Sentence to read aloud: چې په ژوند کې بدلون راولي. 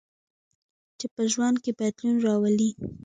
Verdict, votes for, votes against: accepted, 2, 0